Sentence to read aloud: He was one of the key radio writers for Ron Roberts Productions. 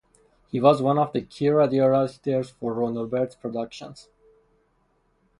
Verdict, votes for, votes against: rejected, 0, 2